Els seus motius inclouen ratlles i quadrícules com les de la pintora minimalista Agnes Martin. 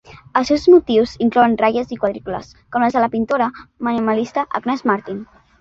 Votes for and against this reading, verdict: 2, 1, accepted